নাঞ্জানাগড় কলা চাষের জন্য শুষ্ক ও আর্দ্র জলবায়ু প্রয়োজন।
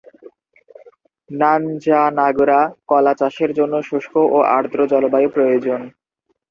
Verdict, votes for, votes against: rejected, 0, 2